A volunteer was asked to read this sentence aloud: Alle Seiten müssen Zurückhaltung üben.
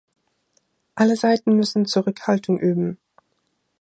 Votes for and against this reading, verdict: 2, 0, accepted